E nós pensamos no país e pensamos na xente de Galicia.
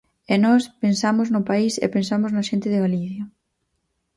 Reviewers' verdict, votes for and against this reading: rejected, 2, 4